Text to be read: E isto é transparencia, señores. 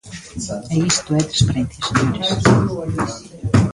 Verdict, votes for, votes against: rejected, 0, 2